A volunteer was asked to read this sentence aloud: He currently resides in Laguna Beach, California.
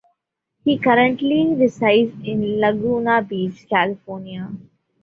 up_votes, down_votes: 2, 0